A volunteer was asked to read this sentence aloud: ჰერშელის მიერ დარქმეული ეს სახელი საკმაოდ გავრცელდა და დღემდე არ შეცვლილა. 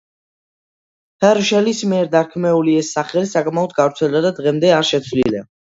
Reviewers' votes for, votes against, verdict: 0, 2, rejected